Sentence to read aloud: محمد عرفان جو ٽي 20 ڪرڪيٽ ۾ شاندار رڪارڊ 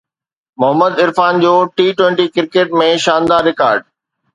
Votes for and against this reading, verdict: 0, 2, rejected